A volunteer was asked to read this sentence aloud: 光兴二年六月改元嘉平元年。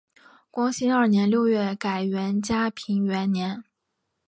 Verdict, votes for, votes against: accepted, 4, 0